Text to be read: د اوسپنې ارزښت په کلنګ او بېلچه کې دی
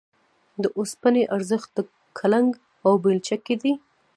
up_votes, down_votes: 2, 1